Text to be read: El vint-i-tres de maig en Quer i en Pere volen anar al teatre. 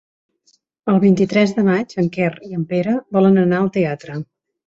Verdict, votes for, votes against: accepted, 4, 0